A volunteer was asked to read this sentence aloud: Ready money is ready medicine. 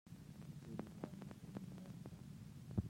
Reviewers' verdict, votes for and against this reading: rejected, 0, 2